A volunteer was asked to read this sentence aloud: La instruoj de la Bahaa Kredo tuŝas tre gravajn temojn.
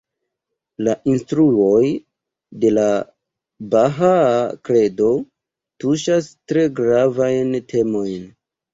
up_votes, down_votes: 0, 2